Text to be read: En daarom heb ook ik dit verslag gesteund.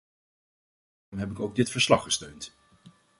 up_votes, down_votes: 0, 2